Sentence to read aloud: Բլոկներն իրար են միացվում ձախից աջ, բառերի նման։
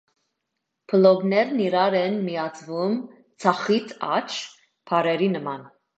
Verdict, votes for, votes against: accepted, 2, 1